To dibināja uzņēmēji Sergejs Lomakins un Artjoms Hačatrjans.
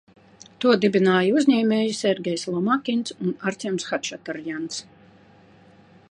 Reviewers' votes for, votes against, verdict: 2, 0, accepted